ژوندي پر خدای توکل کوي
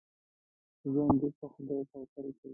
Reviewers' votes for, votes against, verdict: 0, 2, rejected